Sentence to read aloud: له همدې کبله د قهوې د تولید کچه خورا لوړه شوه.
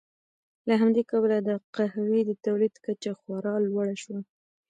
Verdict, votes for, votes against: rejected, 1, 2